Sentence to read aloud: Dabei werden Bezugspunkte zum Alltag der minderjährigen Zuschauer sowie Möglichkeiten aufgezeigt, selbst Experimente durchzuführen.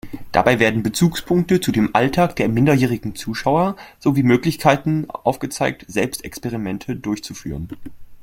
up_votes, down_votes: 0, 2